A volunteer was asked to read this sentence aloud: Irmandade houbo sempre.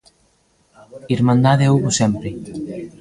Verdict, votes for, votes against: rejected, 1, 2